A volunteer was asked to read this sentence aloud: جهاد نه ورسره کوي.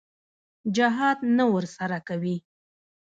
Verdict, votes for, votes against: rejected, 1, 2